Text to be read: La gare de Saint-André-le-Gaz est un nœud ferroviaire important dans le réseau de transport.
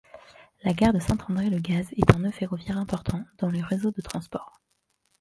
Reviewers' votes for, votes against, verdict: 1, 2, rejected